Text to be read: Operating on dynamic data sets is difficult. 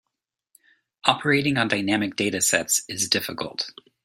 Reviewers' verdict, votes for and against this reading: accepted, 2, 0